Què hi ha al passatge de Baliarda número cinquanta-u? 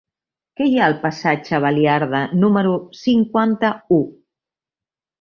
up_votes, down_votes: 1, 2